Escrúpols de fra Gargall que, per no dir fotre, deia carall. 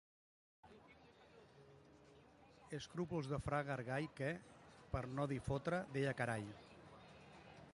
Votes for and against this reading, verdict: 2, 0, accepted